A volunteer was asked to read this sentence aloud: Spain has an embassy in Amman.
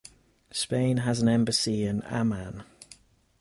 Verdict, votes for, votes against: accepted, 4, 0